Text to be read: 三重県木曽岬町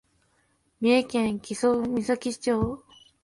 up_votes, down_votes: 3, 2